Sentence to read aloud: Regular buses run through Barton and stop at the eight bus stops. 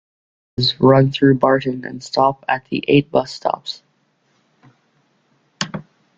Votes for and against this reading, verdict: 0, 2, rejected